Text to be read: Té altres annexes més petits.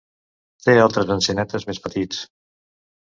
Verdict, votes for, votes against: rejected, 1, 2